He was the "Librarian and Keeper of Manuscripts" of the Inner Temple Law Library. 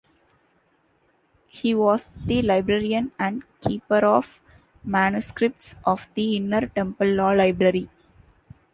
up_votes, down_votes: 2, 0